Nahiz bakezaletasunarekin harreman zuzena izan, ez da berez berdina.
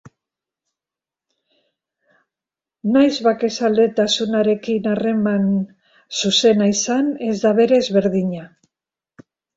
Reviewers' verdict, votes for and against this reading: accepted, 2, 0